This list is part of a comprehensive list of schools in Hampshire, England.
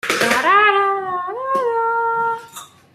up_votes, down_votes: 0, 2